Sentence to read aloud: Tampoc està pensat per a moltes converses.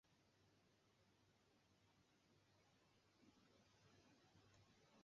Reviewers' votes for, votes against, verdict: 0, 2, rejected